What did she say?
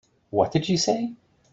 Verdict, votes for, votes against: accepted, 3, 0